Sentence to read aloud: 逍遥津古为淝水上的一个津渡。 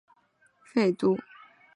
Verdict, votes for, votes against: rejected, 1, 3